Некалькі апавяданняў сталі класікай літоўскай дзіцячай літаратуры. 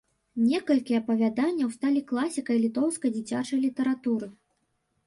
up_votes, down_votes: 2, 0